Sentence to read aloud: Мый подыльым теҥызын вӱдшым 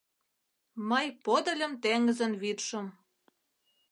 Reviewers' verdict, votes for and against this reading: accepted, 2, 0